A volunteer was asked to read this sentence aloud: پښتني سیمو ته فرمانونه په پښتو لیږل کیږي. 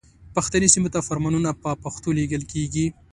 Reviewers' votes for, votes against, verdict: 2, 0, accepted